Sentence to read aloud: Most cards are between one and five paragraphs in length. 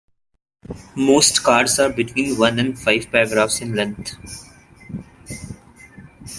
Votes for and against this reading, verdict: 2, 0, accepted